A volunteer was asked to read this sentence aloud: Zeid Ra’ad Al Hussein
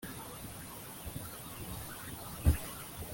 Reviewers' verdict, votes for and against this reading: rejected, 0, 2